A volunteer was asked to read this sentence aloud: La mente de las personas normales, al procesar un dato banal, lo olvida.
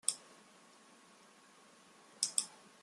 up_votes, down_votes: 0, 2